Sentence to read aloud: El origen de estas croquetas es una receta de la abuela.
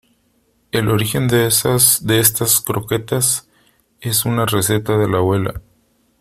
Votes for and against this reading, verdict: 0, 2, rejected